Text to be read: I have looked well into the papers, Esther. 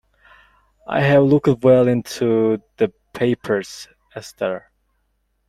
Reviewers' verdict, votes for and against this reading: rejected, 0, 2